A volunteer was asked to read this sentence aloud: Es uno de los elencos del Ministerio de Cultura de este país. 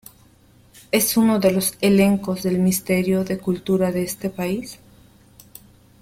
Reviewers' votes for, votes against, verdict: 2, 0, accepted